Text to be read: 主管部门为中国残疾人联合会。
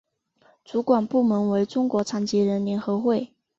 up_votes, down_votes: 2, 0